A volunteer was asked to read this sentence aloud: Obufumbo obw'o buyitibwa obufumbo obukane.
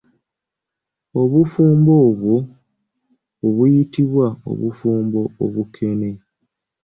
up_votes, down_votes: 1, 2